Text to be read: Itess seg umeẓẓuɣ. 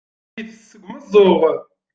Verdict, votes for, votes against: accepted, 2, 1